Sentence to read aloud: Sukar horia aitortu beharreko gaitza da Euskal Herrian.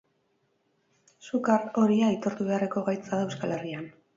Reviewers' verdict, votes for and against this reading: accepted, 4, 0